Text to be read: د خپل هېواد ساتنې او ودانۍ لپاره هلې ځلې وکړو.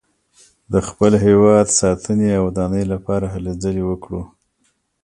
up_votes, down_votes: 2, 0